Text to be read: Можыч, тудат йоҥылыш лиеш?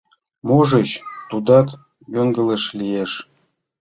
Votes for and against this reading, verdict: 1, 2, rejected